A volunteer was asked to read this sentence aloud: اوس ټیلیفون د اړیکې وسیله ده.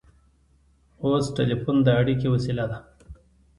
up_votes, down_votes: 2, 1